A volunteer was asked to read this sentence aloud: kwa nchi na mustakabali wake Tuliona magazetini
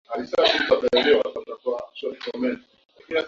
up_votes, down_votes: 0, 2